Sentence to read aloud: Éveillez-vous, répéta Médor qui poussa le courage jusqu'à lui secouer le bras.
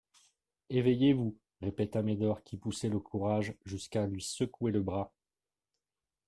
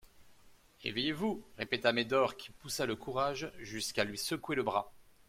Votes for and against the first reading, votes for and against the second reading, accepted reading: 0, 2, 2, 0, second